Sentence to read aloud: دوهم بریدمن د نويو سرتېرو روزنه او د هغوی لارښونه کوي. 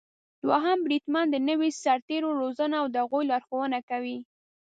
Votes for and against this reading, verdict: 2, 0, accepted